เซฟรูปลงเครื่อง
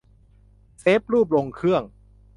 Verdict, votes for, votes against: accepted, 2, 0